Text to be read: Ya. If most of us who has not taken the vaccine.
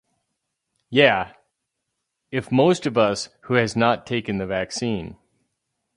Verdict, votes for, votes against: accepted, 2, 0